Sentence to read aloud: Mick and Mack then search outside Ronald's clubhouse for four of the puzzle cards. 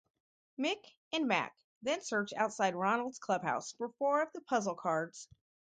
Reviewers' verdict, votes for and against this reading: accepted, 4, 0